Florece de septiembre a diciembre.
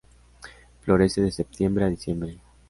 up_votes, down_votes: 2, 1